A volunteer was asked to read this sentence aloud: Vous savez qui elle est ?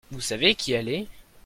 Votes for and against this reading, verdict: 2, 0, accepted